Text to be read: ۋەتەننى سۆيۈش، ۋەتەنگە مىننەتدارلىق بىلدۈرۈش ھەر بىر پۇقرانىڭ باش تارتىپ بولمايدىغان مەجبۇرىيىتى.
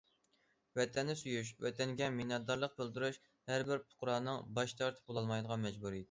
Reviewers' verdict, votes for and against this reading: rejected, 0, 2